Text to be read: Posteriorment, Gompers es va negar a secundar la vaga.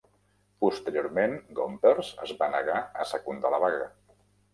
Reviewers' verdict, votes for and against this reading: accepted, 3, 0